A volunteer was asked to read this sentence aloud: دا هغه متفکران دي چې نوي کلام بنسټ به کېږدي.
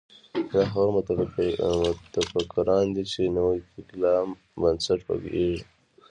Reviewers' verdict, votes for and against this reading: accepted, 2, 0